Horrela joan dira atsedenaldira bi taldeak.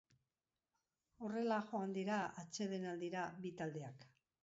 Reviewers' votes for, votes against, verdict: 2, 0, accepted